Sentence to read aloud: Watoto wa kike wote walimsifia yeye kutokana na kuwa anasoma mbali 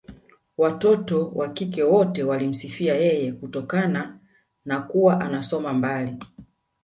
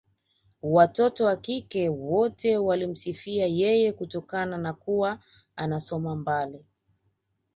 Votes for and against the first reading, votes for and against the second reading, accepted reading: 2, 0, 1, 2, first